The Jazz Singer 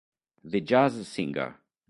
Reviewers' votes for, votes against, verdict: 0, 2, rejected